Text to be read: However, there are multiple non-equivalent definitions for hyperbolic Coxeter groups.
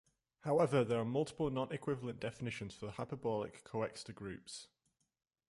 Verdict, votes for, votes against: rejected, 0, 2